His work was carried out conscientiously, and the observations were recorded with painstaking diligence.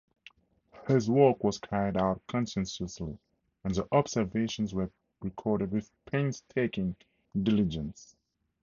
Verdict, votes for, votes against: rejected, 2, 2